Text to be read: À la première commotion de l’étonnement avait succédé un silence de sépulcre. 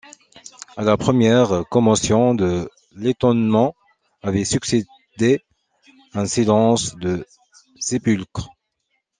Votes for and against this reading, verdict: 2, 0, accepted